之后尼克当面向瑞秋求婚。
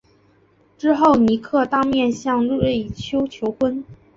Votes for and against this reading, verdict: 2, 0, accepted